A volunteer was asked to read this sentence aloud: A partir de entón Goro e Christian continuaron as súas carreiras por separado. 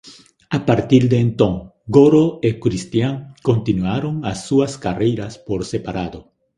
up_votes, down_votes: 2, 0